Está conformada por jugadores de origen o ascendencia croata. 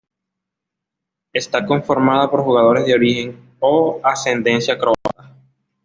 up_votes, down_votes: 1, 2